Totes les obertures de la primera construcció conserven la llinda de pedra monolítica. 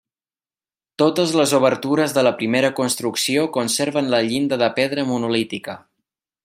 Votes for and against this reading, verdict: 3, 0, accepted